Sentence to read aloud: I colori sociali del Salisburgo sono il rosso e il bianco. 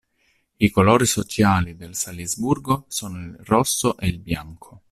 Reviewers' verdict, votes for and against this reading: rejected, 1, 2